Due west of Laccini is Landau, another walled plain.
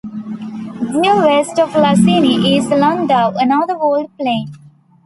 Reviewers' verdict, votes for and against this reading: accepted, 2, 1